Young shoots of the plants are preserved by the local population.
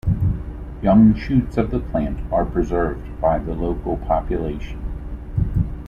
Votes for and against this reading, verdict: 2, 0, accepted